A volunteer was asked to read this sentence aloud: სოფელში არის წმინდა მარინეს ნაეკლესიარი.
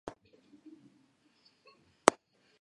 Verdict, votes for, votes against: rejected, 0, 2